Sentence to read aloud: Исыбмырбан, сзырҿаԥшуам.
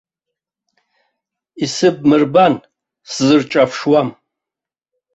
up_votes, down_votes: 2, 0